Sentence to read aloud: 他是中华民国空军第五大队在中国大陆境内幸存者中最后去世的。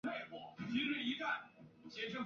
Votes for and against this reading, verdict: 0, 2, rejected